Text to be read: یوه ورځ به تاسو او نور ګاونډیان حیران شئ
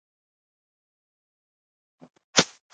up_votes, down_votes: 0, 2